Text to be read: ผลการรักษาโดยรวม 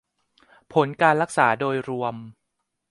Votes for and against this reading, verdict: 2, 0, accepted